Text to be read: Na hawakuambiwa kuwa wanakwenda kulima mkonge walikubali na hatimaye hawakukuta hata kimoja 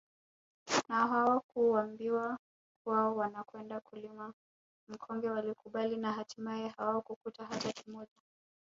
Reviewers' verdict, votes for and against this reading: rejected, 0, 2